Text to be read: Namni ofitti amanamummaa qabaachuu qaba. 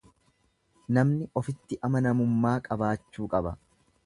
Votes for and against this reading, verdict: 2, 0, accepted